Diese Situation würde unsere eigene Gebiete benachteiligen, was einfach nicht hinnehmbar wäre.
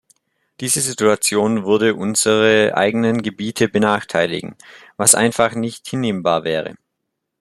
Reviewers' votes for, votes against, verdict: 0, 2, rejected